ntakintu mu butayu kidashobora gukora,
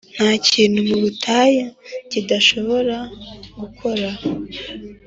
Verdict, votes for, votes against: accepted, 2, 0